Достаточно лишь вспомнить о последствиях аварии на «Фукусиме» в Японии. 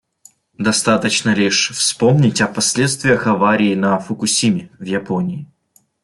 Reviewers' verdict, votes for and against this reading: accepted, 2, 0